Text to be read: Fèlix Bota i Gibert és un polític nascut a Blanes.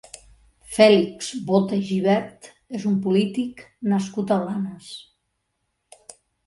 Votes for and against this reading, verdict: 3, 1, accepted